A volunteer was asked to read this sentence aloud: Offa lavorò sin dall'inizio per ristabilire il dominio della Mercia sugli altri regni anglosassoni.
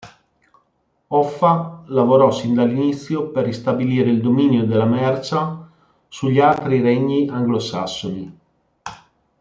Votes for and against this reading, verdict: 2, 0, accepted